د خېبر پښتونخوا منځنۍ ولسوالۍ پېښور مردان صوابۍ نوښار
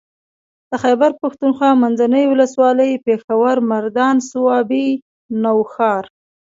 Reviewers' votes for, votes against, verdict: 2, 0, accepted